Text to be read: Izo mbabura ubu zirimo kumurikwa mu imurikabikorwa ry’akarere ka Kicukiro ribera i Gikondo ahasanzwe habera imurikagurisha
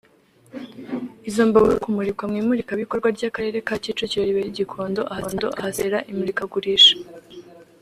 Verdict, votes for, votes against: rejected, 2, 3